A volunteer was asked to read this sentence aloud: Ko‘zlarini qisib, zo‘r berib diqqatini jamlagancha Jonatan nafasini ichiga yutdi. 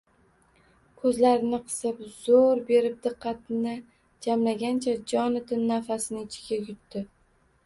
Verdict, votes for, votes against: rejected, 0, 2